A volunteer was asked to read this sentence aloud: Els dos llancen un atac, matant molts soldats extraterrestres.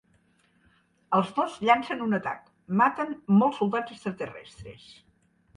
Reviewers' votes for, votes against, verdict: 1, 2, rejected